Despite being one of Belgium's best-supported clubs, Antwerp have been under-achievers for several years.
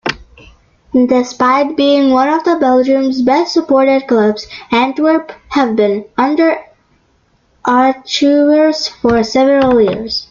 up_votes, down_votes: 1, 2